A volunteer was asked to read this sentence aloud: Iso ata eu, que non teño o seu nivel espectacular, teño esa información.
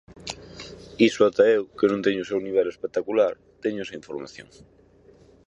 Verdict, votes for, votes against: accepted, 4, 0